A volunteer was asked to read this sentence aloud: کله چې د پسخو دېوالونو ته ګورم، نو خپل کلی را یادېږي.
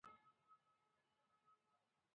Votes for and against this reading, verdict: 0, 2, rejected